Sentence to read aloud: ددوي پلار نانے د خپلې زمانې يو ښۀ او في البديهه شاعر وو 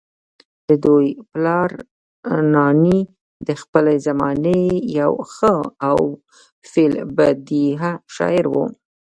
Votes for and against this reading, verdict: 0, 2, rejected